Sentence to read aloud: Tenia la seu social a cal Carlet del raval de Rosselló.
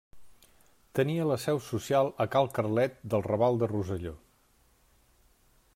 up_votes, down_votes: 3, 0